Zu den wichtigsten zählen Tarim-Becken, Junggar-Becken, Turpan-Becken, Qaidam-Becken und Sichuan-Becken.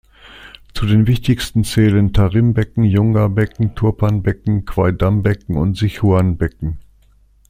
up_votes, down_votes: 2, 0